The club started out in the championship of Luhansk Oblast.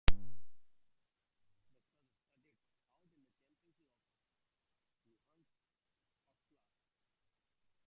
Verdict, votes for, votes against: rejected, 0, 2